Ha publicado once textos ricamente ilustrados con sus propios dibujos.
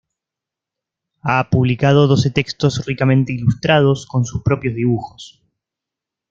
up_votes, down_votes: 1, 2